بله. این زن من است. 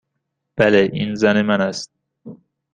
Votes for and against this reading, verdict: 2, 0, accepted